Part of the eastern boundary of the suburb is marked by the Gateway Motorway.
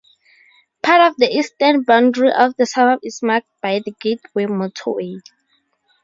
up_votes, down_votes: 4, 2